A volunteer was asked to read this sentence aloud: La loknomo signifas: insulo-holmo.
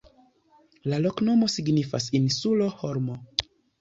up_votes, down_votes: 2, 0